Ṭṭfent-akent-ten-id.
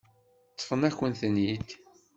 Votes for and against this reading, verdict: 0, 2, rejected